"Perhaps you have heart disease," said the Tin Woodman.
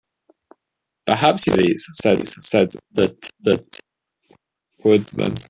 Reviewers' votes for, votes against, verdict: 0, 2, rejected